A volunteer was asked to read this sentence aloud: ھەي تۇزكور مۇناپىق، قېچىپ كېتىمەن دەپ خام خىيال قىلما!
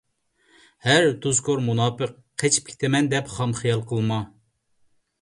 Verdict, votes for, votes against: rejected, 0, 2